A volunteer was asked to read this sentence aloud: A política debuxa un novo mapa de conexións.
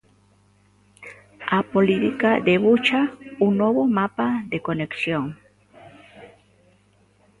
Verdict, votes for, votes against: rejected, 0, 2